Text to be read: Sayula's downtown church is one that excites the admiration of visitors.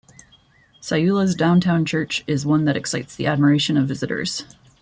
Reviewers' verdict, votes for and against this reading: rejected, 1, 2